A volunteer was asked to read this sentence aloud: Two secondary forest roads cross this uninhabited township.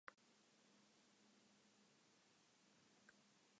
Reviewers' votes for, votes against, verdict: 0, 2, rejected